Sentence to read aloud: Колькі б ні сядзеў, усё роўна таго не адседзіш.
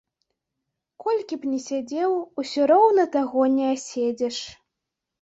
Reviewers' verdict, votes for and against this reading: rejected, 0, 2